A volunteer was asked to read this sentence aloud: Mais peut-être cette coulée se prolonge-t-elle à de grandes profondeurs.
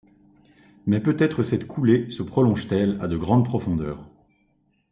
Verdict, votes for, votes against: accepted, 2, 0